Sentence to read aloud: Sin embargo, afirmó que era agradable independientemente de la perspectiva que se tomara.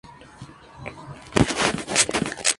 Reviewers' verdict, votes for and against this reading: rejected, 0, 2